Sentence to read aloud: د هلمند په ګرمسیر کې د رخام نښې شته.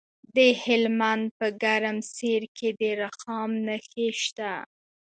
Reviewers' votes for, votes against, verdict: 2, 0, accepted